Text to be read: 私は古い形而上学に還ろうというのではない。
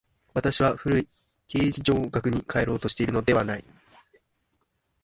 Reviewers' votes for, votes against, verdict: 1, 2, rejected